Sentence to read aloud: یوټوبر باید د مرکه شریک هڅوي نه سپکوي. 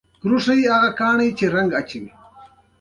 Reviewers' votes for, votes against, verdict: 2, 1, accepted